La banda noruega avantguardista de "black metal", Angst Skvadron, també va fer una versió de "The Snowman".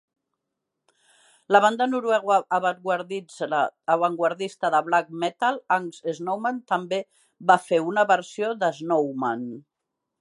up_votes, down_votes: 0, 2